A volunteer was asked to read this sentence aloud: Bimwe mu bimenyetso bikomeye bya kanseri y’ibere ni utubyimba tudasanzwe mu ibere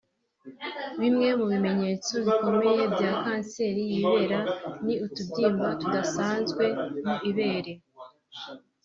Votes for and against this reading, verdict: 1, 2, rejected